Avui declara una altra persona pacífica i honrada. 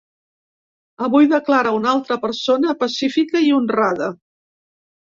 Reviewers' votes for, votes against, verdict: 3, 0, accepted